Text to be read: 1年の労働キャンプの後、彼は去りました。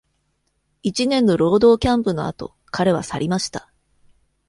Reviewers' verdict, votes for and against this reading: rejected, 0, 2